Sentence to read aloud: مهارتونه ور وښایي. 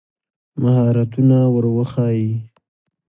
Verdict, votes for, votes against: accepted, 2, 0